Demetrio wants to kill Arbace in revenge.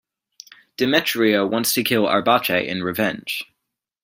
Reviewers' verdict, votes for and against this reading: accepted, 2, 0